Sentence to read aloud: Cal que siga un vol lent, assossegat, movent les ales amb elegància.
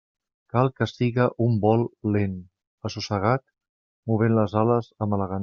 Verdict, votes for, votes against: rejected, 1, 2